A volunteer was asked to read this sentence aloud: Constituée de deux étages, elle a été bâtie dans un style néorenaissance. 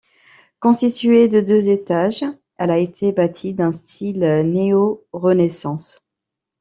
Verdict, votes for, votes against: rejected, 0, 2